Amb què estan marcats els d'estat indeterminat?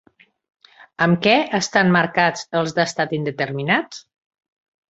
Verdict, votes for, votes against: rejected, 1, 2